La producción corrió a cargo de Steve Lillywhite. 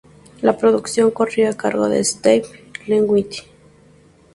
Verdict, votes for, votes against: rejected, 0, 2